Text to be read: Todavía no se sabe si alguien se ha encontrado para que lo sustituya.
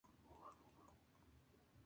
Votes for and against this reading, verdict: 0, 2, rejected